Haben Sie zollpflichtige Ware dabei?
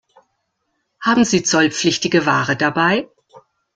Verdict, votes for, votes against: accepted, 2, 0